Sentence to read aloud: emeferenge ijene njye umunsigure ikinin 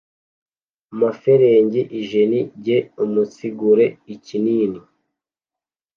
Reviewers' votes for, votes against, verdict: 1, 2, rejected